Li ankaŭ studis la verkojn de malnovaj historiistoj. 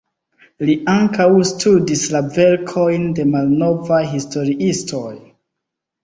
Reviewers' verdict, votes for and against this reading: accepted, 2, 0